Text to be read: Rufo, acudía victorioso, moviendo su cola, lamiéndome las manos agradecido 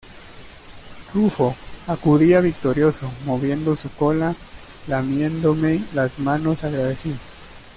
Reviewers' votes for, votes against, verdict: 1, 2, rejected